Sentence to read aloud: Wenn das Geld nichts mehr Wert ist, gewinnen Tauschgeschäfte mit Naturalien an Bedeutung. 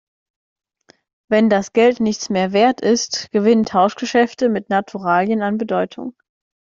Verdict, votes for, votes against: accepted, 2, 1